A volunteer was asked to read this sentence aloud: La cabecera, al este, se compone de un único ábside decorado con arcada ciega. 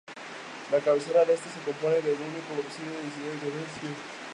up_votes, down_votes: 0, 2